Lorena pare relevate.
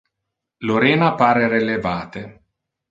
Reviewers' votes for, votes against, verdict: 2, 0, accepted